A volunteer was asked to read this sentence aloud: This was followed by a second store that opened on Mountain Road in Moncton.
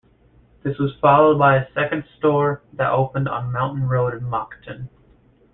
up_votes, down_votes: 2, 1